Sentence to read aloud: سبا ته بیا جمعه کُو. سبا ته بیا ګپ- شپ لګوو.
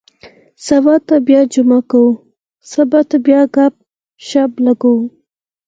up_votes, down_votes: 0, 4